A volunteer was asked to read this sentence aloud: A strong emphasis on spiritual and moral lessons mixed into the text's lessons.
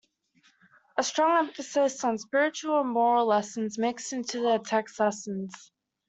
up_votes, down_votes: 2, 0